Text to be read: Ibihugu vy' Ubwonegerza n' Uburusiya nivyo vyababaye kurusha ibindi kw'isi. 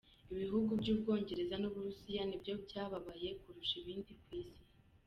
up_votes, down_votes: 1, 2